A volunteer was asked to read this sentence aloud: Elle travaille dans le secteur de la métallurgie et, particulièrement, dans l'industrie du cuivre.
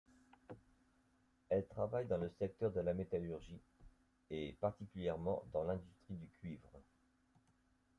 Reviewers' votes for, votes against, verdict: 0, 2, rejected